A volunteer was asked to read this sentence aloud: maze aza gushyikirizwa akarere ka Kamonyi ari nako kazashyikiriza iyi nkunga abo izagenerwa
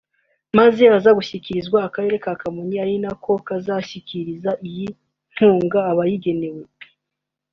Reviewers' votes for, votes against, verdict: 1, 2, rejected